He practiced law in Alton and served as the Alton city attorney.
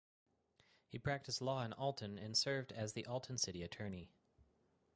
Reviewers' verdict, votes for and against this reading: accepted, 4, 0